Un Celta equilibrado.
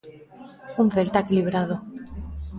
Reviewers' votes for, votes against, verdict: 0, 2, rejected